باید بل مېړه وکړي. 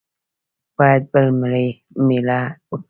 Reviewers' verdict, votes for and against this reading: rejected, 1, 2